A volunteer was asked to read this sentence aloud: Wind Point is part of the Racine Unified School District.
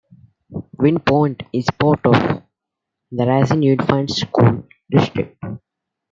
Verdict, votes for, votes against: rejected, 1, 2